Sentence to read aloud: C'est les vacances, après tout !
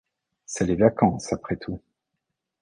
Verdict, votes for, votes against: accepted, 2, 0